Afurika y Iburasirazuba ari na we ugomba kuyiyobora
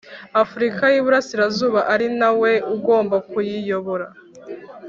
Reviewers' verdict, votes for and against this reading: accepted, 2, 0